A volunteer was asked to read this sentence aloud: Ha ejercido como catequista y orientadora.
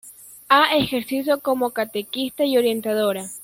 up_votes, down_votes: 2, 0